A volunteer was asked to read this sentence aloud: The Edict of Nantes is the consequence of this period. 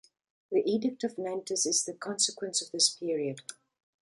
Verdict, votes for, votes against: accepted, 3, 1